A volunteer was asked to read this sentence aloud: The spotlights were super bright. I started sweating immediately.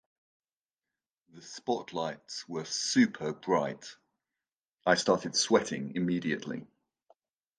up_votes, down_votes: 1, 2